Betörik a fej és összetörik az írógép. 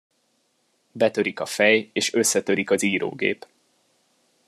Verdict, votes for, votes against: accepted, 2, 1